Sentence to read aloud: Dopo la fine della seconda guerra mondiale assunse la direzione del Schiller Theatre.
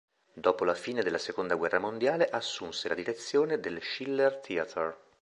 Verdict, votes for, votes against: accepted, 3, 0